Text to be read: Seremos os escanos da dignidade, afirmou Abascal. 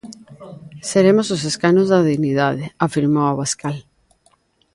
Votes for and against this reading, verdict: 3, 0, accepted